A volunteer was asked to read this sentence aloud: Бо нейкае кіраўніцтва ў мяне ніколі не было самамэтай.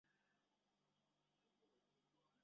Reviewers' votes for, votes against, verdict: 0, 3, rejected